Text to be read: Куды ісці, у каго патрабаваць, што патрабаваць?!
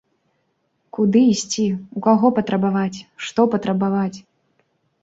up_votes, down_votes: 2, 0